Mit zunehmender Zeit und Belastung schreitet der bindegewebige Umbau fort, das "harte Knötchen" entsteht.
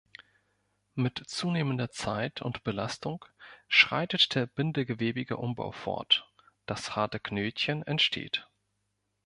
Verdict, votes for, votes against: accepted, 2, 0